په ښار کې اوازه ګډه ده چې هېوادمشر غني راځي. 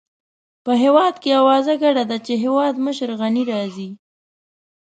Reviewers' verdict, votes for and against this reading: rejected, 1, 2